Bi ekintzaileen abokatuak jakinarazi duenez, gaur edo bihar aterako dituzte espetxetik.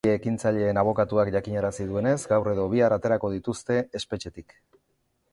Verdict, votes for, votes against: accepted, 2, 0